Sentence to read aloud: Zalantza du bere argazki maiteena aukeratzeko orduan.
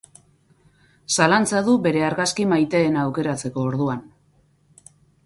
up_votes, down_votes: 4, 0